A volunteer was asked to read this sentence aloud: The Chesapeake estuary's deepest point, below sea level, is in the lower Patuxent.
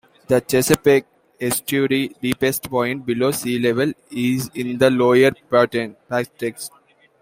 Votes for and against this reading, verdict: 1, 2, rejected